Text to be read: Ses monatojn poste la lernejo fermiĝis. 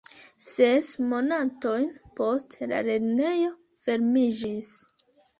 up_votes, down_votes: 0, 2